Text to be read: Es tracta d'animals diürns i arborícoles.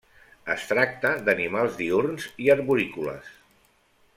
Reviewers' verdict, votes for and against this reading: accepted, 2, 0